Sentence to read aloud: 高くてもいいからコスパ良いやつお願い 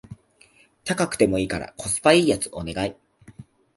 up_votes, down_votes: 2, 0